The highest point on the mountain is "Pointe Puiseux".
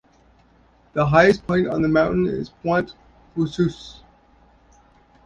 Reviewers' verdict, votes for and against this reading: rejected, 1, 2